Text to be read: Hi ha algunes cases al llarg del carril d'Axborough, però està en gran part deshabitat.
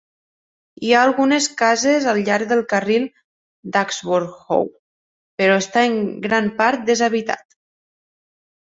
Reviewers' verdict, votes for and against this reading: rejected, 1, 2